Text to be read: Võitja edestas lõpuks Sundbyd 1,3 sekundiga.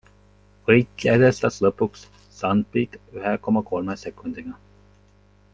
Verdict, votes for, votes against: rejected, 0, 2